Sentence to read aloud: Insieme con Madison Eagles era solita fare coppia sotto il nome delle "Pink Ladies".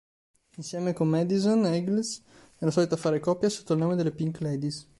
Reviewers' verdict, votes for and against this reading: rejected, 1, 3